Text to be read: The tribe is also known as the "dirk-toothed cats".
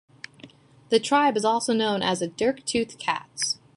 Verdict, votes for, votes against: accepted, 2, 0